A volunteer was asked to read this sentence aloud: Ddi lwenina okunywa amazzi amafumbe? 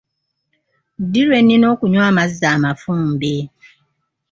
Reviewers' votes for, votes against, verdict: 2, 0, accepted